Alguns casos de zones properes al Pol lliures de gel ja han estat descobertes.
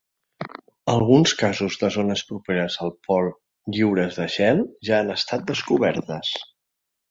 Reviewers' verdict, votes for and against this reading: accepted, 3, 0